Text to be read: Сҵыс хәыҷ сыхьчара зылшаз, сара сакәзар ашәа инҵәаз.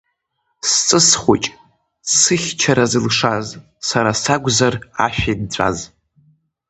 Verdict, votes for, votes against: accepted, 2, 1